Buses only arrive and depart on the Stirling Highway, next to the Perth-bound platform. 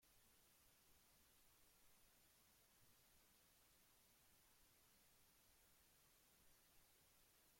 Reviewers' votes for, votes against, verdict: 0, 2, rejected